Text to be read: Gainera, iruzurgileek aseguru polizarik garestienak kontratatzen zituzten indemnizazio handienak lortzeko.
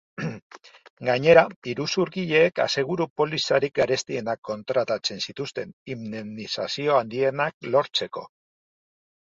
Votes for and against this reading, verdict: 1, 3, rejected